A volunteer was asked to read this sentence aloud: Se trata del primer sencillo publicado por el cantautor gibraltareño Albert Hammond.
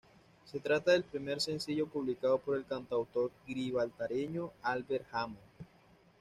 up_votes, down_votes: 1, 2